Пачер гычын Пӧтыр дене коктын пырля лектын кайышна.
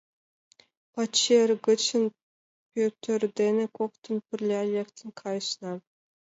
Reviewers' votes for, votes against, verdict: 2, 1, accepted